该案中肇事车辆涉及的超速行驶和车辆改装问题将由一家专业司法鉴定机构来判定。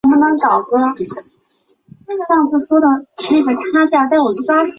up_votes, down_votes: 0, 2